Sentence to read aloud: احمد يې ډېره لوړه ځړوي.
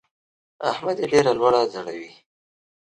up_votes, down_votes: 2, 0